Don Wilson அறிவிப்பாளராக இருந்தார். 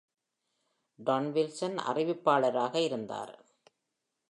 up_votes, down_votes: 2, 0